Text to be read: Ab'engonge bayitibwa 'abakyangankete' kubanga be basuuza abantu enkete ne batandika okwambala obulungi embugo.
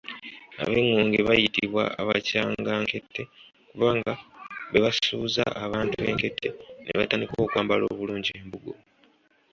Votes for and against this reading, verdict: 2, 0, accepted